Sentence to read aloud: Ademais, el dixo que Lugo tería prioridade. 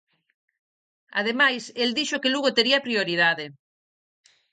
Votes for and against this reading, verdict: 4, 0, accepted